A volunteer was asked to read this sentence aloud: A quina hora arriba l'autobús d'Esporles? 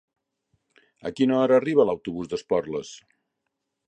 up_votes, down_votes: 3, 0